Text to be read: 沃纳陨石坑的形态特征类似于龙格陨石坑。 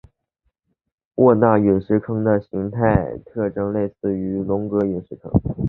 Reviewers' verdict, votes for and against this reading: accepted, 2, 0